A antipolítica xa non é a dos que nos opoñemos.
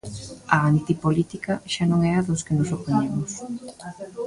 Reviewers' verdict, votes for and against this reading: rejected, 0, 2